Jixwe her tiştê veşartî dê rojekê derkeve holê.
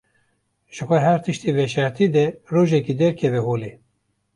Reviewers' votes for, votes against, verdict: 0, 2, rejected